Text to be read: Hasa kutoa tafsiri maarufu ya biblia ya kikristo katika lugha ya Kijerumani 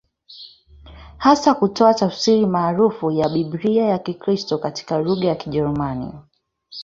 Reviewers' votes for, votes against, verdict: 1, 2, rejected